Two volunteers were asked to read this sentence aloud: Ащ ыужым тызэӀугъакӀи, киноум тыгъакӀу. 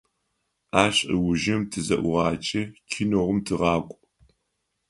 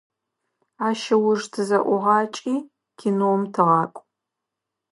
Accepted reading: first